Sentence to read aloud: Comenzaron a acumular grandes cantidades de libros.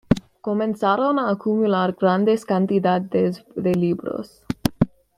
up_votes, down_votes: 2, 0